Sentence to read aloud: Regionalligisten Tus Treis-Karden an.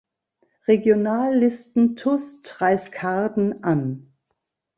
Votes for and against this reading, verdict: 1, 2, rejected